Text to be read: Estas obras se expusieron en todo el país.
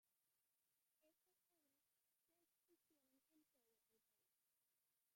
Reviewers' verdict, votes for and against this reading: rejected, 0, 2